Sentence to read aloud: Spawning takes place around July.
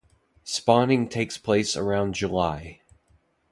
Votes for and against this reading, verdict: 2, 0, accepted